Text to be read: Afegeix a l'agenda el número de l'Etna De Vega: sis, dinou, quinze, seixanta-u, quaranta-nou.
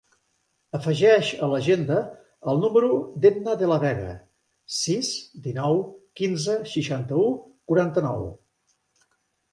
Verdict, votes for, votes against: rejected, 0, 2